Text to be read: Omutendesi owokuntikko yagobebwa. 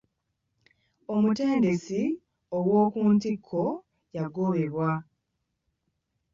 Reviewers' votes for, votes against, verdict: 1, 2, rejected